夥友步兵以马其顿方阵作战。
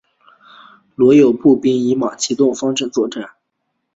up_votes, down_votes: 2, 1